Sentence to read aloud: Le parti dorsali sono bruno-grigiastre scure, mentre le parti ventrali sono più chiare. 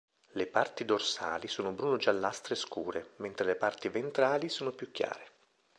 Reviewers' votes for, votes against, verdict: 0, 2, rejected